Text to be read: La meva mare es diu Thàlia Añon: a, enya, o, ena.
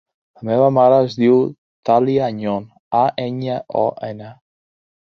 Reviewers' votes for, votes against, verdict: 3, 0, accepted